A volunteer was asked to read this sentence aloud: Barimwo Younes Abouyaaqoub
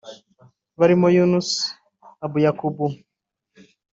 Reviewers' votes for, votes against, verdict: 2, 1, accepted